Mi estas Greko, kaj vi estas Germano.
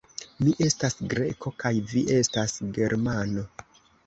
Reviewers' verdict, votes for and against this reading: accepted, 2, 0